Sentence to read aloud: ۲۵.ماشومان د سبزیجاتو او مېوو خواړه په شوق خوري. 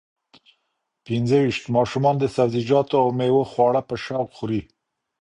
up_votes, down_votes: 0, 2